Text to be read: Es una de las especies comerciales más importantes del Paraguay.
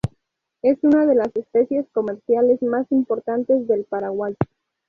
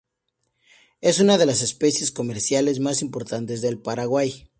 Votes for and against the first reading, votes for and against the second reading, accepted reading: 0, 2, 4, 0, second